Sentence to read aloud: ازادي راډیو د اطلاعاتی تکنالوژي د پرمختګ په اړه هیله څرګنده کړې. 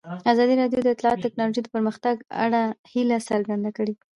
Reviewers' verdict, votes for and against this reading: accepted, 2, 1